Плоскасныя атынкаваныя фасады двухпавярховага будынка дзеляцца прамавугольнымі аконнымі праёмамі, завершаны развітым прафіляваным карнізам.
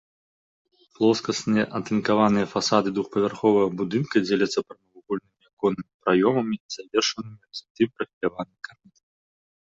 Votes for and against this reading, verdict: 1, 2, rejected